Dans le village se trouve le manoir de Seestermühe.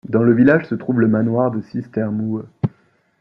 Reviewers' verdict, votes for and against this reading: accepted, 2, 0